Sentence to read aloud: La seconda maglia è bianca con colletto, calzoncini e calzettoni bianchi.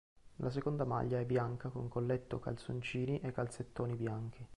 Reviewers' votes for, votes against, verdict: 1, 2, rejected